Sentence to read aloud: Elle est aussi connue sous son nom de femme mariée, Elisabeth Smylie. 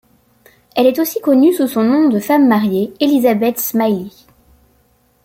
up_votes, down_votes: 2, 0